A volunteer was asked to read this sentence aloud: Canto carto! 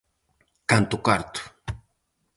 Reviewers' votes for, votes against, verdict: 4, 0, accepted